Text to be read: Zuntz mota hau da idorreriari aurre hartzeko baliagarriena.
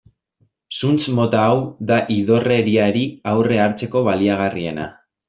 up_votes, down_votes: 2, 0